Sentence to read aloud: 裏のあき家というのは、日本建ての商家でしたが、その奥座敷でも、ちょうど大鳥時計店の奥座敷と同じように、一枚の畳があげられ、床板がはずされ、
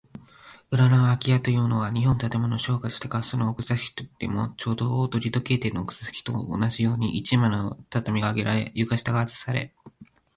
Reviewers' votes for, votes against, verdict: 3, 4, rejected